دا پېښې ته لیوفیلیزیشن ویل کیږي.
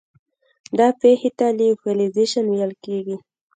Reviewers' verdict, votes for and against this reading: accepted, 2, 0